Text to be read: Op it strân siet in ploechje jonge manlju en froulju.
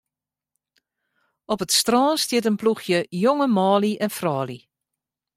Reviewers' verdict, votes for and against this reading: rejected, 1, 2